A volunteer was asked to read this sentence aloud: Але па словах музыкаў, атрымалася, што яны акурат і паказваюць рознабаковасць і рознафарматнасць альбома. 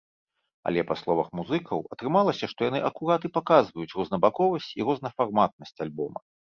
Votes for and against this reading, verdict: 1, 2, rejected